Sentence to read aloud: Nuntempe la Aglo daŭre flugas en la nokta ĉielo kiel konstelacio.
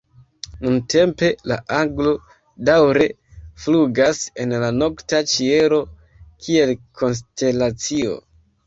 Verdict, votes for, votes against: rejected, 1, 2